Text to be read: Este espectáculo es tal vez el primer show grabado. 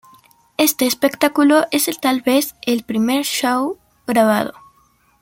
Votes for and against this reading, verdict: 2, 0, accepted